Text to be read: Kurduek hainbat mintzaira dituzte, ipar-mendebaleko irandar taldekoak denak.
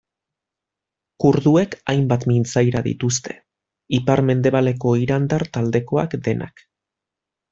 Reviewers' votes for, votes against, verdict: 2, 0, accepted